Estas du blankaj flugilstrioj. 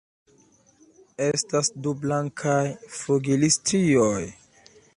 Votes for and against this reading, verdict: 0, 2, rejected